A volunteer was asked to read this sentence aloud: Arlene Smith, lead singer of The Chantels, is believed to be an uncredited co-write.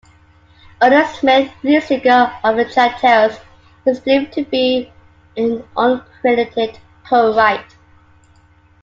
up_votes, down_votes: 2, 1